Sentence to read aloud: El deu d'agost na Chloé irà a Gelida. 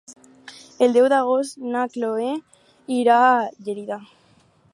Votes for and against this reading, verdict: 4, 0, accepted